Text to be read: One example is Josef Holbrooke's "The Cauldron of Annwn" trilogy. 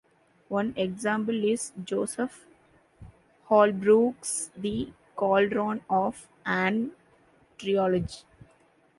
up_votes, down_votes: 1, 2